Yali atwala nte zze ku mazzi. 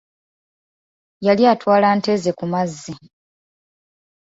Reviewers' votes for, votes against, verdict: 2, 0, accepted